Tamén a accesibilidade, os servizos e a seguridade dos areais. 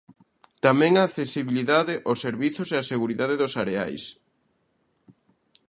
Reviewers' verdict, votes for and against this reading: accepted, 2, 0